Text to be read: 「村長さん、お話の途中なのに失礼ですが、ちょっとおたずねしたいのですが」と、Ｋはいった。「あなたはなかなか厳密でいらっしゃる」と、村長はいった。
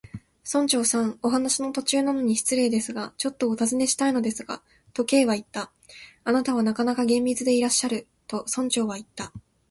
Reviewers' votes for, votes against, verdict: 2, 0, accepted